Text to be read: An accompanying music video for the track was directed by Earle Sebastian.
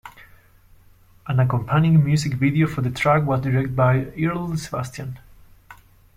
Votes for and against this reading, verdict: 1, 2, rejected